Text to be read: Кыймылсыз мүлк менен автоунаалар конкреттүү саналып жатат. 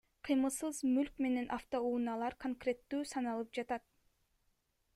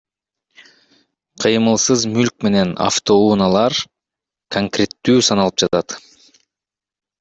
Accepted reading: first